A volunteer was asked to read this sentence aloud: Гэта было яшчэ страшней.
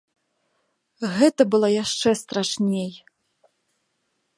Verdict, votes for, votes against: rejected, 1, 2